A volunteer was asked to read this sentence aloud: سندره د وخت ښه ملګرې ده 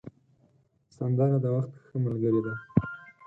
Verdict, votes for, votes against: rejected, 2, 4